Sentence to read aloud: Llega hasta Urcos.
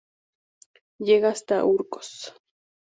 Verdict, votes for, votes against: accepted, 4, 0